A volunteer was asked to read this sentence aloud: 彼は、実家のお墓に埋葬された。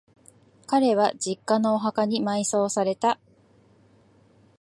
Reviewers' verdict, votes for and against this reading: accepted, 2, 0